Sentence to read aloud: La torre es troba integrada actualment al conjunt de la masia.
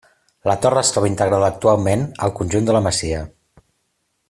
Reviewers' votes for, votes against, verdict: 2, 0, accepted